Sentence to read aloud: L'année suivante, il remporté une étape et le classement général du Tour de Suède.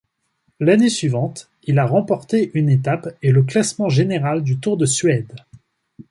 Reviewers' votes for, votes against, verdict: 0, 2, rejected